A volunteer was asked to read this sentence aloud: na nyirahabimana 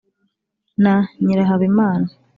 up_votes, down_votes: 3, 0